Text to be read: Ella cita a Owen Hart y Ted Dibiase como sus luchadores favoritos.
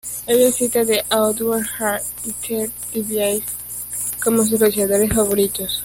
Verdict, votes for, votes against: rejected, 1, 2